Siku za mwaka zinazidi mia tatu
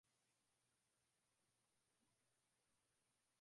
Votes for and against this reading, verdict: 2, 17, rejected